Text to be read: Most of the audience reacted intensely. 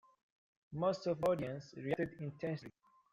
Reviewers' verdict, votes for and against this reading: rejected, 1, 2